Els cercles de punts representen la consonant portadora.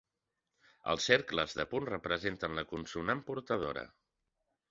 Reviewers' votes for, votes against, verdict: 1, 2, rejected